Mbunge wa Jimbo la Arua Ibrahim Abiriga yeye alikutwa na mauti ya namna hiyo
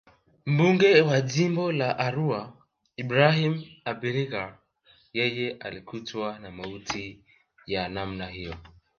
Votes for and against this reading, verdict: 6, 0, accepted